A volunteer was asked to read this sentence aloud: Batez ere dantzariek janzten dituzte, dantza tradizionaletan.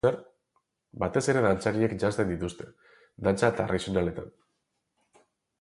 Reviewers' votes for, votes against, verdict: 0, 2, rejected